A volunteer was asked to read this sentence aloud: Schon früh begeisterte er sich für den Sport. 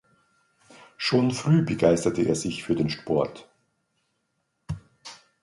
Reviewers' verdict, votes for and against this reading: accepted, 2, 0